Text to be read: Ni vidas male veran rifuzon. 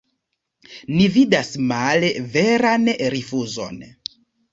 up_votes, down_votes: 2, 0